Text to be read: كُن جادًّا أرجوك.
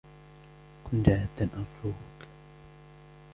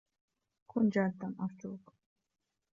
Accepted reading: first